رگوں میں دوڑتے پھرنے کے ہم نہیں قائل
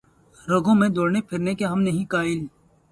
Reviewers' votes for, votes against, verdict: 0, 2, rejected